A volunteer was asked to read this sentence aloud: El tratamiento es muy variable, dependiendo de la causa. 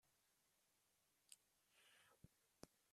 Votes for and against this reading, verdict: 0, 2, rejected